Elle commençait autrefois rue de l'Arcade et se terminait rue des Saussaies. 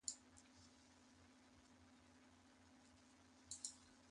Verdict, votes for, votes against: rejected, 0, 2